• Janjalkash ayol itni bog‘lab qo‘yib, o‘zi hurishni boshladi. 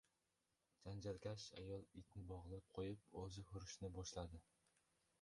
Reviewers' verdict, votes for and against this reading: rejected, 1, 2